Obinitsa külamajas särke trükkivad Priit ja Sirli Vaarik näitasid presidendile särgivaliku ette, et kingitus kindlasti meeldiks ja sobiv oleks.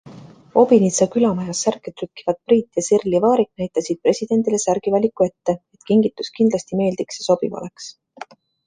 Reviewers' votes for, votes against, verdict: 2, 0, accepted